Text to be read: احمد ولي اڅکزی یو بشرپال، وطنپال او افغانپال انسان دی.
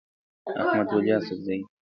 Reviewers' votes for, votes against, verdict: 0, 2, rejected